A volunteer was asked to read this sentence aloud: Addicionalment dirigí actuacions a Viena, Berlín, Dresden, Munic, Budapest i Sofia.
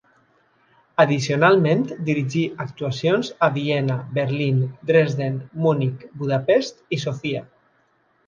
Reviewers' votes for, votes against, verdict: 3, 0, accepted